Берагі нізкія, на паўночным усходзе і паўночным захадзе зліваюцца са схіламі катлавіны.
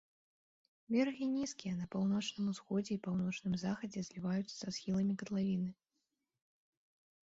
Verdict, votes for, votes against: accepted, 2, 1